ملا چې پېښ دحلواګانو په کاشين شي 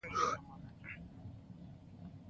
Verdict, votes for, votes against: rejected, 0, 2